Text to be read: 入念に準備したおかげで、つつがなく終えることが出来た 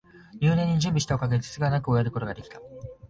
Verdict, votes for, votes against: accepted, 3, 0